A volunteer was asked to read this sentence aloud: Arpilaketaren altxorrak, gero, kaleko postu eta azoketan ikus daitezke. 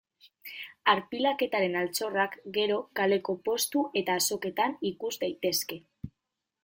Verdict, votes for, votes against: accepted, 2, 0